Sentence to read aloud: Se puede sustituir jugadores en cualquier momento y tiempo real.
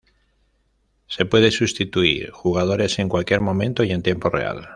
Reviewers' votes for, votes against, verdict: 1, 2, rejected